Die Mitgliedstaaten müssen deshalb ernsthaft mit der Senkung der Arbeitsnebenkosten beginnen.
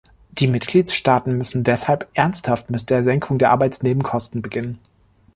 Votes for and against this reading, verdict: 1, 2, rejected